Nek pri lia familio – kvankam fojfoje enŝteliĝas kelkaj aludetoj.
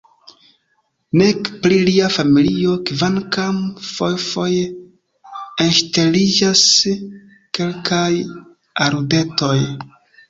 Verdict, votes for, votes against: accepted, 2, 0